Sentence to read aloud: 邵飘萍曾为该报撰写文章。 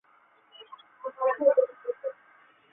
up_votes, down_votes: 0, 2